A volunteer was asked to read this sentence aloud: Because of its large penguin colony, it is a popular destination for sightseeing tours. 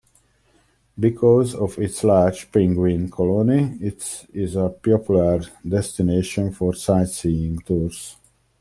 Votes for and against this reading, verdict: 0, 2, rejected